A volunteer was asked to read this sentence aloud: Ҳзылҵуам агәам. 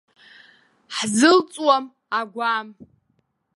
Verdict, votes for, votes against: accepted, 2, 0